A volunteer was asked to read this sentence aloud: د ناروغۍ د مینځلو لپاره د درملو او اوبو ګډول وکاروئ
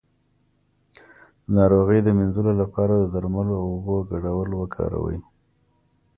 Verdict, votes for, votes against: accepted, 2, 0